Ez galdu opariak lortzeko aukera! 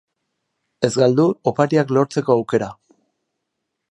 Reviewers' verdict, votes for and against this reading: accepted, 8, 0